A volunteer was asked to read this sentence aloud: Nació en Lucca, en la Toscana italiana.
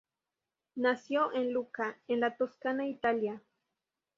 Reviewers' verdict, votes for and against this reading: rejected, 0, 2